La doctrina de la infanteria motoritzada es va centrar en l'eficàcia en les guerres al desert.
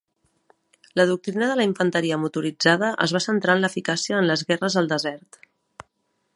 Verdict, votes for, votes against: accepted, 2, 0